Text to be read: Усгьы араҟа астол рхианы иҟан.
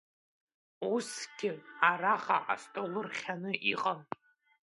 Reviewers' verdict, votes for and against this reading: rejected, 1, 2